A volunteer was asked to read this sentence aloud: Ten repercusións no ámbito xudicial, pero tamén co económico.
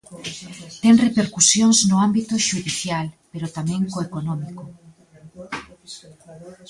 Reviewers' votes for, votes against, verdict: 1, 2, rejected